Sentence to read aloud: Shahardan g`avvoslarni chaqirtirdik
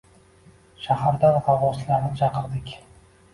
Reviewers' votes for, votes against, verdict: 1, 2, rejected